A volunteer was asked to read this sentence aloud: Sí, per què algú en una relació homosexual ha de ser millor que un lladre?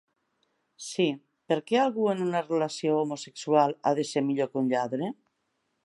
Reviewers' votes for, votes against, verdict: 4, 0, accepted